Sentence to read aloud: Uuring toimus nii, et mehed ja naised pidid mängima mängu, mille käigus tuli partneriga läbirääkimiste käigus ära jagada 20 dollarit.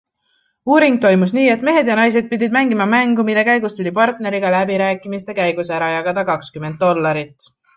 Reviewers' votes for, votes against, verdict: 0, 2, rejected